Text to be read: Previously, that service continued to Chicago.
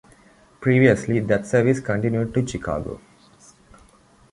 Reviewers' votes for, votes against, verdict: 2, 0, accepted